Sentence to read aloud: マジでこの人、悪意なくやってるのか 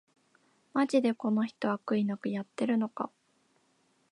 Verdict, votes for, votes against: accepted, 2, 0